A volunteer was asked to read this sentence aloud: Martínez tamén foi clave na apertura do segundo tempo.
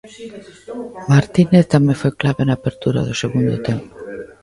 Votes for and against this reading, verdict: 1, 2, rejected